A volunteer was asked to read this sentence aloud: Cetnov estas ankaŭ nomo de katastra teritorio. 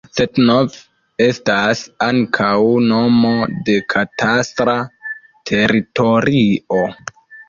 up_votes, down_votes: 2, 0